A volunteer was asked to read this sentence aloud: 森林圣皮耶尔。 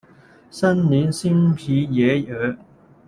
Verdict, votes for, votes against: rejected, 1, 2